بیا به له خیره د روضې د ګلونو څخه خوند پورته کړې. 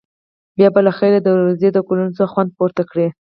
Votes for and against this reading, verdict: 4, 0, accepted